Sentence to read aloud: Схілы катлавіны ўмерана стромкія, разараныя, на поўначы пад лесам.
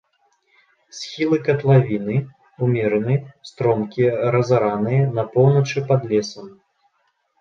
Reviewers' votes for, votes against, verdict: 0, 2, rejected